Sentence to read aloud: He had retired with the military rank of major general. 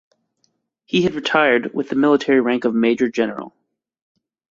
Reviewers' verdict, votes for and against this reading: accepted, 2, 0